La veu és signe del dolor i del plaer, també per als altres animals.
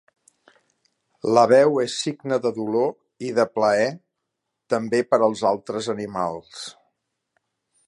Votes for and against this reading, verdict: 1, 2, rejected